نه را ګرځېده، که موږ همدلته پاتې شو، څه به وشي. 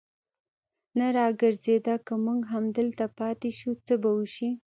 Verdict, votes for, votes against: rejected, 0, 2